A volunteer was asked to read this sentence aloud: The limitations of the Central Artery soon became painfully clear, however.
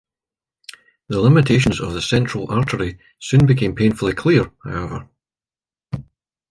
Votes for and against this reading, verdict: 2, 0, accepted